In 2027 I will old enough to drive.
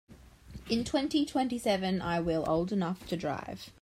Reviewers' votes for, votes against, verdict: 0, 2, rejected